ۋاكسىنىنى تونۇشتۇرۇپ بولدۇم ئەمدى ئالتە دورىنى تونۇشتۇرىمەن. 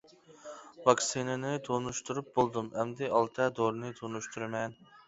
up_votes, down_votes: 2, 0